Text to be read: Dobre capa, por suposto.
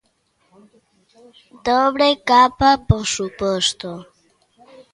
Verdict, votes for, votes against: rejected, 1, 2